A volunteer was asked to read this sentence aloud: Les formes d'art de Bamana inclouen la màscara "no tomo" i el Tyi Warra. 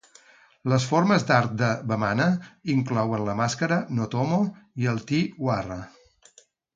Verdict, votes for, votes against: accepted, 6, 0